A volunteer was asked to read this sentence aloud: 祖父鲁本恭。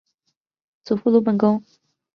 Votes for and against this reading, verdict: 2, 0, accepted